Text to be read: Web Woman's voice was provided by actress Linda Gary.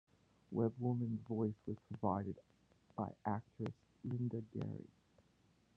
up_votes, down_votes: 0, 2